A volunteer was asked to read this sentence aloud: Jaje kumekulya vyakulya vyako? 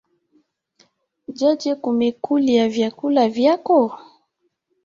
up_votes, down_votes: 3, 2